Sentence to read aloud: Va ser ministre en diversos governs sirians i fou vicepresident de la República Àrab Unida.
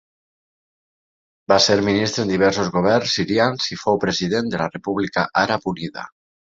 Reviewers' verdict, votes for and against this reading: rejected, 1, 2